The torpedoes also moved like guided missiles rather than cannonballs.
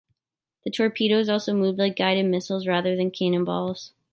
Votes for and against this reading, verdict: 2, 0, accepted